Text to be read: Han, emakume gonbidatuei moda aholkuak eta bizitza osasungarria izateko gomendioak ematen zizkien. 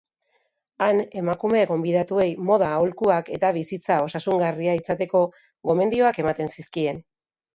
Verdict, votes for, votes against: accepted, 2, 0